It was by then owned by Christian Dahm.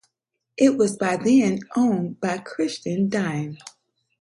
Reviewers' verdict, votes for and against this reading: rejected, 0, 4